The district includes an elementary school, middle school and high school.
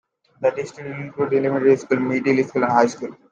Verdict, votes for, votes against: rejected, 1, 2